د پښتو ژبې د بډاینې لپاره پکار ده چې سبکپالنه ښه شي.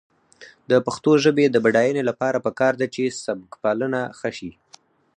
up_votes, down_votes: 0, 4